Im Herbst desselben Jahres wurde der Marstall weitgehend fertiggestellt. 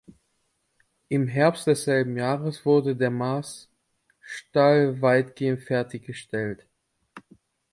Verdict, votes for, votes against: rejected, 0, 2